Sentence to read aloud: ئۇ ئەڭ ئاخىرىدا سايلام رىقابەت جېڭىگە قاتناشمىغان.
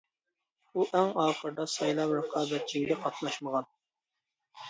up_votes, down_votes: 0, 2